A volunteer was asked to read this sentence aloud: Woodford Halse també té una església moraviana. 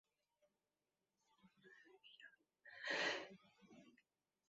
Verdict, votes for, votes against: rejected, 0, 2